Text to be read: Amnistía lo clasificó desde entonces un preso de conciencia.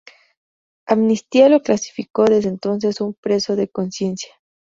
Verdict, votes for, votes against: accepted, 4, 0